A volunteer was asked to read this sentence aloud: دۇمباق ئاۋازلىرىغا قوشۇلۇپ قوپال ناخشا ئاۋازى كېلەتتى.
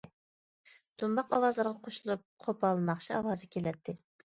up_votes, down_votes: 2, 0